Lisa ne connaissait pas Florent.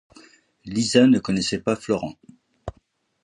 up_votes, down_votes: 2, 0